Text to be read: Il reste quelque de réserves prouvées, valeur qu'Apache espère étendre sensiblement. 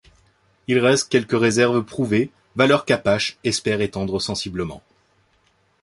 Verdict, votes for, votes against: rejected, 0, 2